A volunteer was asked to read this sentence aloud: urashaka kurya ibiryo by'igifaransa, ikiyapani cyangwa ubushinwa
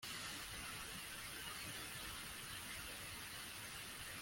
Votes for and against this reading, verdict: 0, 2, rejected